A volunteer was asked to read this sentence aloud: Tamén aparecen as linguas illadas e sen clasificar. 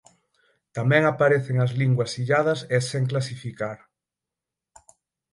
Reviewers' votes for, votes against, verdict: 6, 0, accepted